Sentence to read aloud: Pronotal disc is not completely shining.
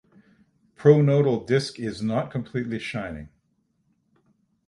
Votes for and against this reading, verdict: 6, 0, accepted